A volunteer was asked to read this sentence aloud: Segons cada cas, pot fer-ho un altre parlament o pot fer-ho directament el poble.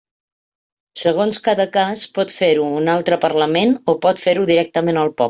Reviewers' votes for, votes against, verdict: 0, 2, rejected